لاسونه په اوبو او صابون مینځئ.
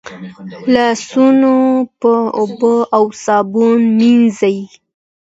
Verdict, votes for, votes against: accepted, 2, 0